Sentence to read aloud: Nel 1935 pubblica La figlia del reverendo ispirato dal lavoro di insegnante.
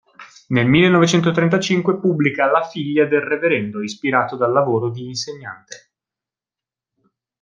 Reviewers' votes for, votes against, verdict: 0, 2, rejected